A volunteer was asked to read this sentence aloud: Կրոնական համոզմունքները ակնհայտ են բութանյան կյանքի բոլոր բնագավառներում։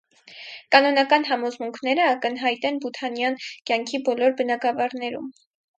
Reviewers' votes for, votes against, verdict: 0, 4, rejected